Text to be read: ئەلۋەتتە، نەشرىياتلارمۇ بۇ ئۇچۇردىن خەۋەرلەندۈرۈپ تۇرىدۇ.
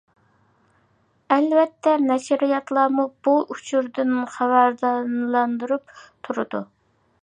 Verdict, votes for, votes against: rejected, 0, 2